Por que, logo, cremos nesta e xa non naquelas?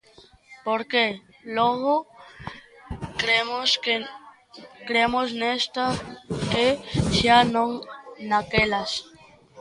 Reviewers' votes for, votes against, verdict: 0, 2, rejected